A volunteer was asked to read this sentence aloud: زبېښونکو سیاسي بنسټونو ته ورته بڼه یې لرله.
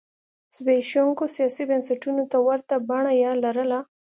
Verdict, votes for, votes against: accepted, 3, 0